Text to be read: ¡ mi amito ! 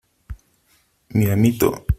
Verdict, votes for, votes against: accepted, 3, 1